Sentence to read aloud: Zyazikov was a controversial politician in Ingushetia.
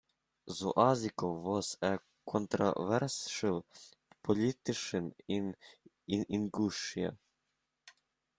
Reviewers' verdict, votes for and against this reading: rejected, 0, 2